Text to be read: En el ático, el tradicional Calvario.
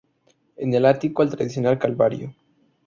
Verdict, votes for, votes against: rejected, 0, 2